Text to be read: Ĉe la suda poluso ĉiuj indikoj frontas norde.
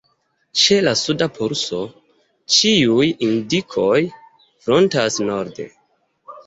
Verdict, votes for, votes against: accepted, 2, 1